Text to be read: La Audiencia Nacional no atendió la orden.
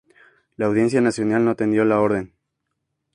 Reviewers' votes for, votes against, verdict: 6, 0, accepted